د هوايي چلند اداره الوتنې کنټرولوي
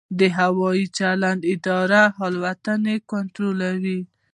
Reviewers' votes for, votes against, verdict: 2, 0, accepted